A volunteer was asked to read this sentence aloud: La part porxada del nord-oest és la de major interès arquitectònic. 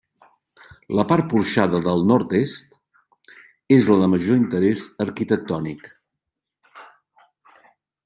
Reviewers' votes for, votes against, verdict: 1, 2, rejected